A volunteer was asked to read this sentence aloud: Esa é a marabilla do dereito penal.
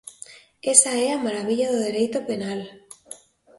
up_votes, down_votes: 2, 0